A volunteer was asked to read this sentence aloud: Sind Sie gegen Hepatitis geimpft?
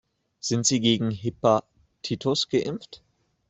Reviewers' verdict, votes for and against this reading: rejected, 0, 2